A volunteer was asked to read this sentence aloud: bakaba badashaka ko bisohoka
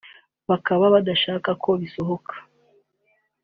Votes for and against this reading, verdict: 2, 1, accepted